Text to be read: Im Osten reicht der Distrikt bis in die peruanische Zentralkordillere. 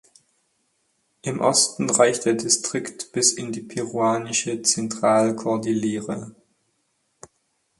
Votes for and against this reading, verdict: 4, 0, accepted